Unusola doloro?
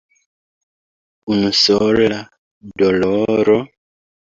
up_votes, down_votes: 2, 1